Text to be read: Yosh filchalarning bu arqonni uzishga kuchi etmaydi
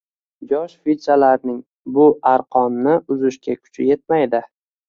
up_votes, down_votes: 2, 0